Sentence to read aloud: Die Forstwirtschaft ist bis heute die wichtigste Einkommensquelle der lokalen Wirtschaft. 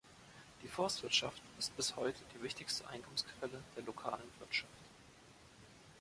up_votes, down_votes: 2, 0